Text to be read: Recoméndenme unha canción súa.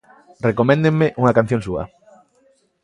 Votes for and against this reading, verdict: 2, 0, accepted